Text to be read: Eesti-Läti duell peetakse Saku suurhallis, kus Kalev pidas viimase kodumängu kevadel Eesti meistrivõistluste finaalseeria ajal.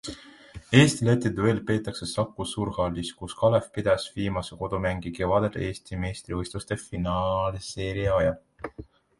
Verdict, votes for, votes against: accepted, 2, 1